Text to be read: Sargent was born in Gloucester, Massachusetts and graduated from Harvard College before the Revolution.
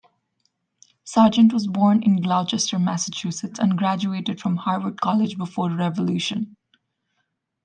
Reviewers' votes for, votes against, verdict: 0, 2, rejected